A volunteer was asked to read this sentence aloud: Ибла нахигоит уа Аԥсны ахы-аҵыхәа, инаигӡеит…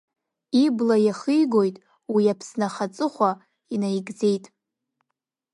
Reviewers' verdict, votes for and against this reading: rejected, 0, 2